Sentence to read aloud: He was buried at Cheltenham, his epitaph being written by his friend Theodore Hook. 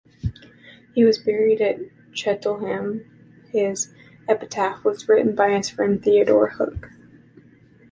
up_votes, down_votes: 2, 3